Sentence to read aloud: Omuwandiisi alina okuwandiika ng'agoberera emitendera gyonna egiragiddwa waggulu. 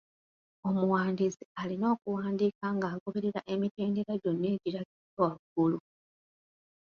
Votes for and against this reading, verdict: 1, 2, rejected